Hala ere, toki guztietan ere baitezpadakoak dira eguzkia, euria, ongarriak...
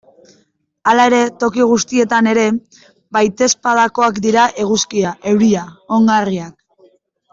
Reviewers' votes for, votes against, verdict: 2, 0, accepted